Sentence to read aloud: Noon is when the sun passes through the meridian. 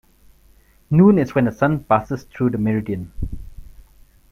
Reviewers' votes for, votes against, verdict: 0, 2, rejected